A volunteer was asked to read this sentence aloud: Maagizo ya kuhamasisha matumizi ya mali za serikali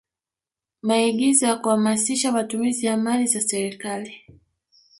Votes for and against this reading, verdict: 2, 0, accepted